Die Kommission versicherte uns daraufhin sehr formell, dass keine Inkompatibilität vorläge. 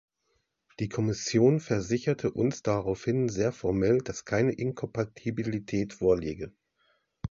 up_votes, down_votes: 2, 0